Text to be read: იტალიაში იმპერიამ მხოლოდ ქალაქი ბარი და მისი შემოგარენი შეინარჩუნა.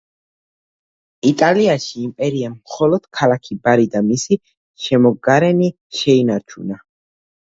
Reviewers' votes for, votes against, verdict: 2, 0, accepted